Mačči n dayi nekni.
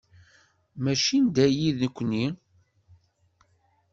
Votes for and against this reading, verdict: 2, 0, accepted